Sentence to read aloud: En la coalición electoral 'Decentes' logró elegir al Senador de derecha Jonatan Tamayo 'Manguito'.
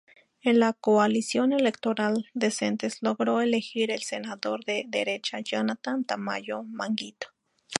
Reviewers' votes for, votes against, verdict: 0, 2, rejected